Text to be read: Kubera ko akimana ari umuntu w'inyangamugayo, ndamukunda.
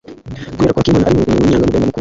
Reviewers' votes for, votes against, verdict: 0, 2, rejected